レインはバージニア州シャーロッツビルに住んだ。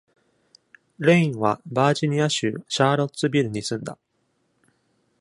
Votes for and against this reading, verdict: 2, 0, accepted